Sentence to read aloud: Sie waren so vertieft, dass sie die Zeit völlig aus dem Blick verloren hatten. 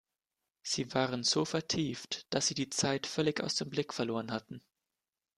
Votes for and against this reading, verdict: 2, 0, accepted